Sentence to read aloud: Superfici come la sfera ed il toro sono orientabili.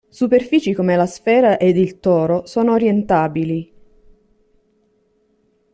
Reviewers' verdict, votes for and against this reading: accepted, 2, 0